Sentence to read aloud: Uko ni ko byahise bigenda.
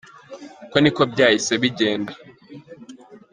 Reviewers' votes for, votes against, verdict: 2, 0, accepted